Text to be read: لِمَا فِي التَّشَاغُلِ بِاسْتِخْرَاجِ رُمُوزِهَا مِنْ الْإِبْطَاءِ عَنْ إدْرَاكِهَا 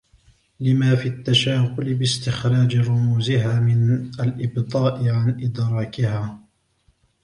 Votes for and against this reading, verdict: 1, 2, rejected